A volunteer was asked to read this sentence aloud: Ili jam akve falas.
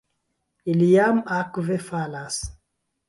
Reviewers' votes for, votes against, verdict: 1, 2, rejected